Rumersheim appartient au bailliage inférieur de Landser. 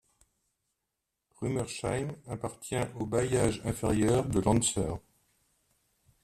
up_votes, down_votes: 2, 0